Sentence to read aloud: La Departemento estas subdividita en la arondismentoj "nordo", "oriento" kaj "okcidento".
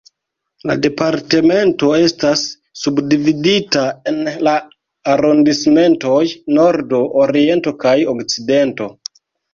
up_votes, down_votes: 1, 2